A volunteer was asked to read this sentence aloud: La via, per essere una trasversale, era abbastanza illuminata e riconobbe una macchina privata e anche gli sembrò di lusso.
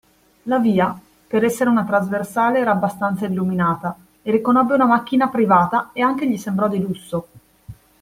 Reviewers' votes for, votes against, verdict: 2, 0, accepted